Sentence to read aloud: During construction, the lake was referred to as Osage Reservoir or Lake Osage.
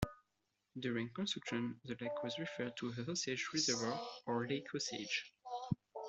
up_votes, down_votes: 0, 2